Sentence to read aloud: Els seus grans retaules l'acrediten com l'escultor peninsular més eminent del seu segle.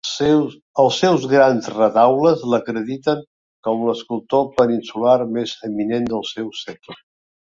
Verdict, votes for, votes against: rejected, 0, 2